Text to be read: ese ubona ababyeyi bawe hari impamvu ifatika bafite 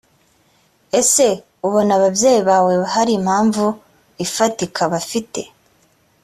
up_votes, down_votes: 2, 0